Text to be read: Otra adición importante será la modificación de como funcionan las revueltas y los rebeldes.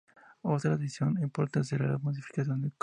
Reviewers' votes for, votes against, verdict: 0, 2, rejected